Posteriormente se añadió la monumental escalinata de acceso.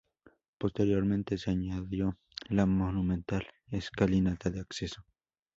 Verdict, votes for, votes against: rejected, 0, 2